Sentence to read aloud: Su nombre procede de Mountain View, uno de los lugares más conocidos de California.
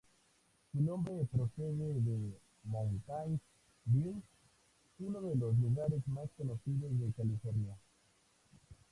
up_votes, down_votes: 0, 2